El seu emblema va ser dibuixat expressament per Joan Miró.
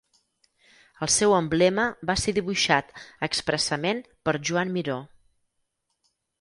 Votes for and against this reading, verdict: 2, 4, rejected